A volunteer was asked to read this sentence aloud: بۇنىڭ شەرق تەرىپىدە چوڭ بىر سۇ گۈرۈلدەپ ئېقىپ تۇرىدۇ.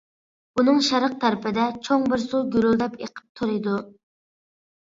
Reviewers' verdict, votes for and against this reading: accepted, 2, 0